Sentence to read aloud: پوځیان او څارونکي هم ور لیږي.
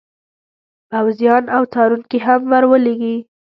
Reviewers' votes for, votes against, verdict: 0, 2, rejected